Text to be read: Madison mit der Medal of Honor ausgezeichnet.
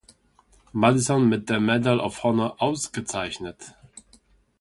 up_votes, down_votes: 1, 2